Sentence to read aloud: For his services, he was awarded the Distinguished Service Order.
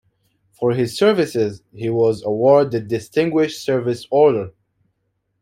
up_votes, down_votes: 2, 0